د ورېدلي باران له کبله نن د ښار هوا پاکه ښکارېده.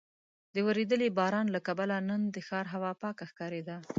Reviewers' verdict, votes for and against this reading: accepted, 2, 0